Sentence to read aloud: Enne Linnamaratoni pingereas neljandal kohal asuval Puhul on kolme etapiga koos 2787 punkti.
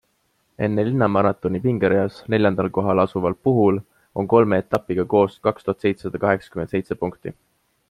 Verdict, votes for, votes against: rejected, 0, 2